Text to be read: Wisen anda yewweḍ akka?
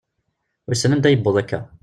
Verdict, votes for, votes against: accepted, 2, 0